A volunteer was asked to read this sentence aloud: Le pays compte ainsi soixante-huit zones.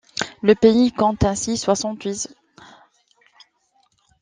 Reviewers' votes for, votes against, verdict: 2, 1, accepted